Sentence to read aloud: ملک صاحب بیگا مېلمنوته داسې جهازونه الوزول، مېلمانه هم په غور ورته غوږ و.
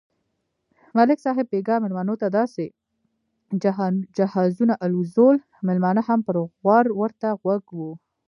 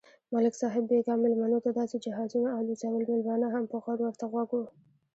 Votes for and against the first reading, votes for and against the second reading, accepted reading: 2, 1, 1, 2, first